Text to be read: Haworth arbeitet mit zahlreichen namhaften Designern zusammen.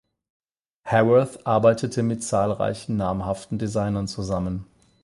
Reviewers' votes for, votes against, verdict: 8, 4, accepted